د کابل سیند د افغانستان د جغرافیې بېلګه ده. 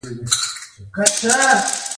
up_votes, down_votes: 2, 1